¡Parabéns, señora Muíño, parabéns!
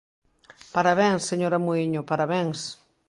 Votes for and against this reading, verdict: 2, 0, accepted